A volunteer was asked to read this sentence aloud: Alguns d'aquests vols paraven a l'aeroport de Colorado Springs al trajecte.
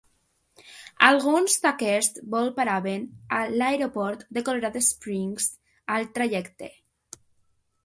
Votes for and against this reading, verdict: 1, 2, rejected